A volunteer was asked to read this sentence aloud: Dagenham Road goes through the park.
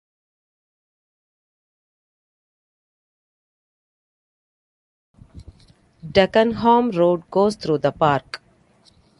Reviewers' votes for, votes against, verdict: 0, 2, rejected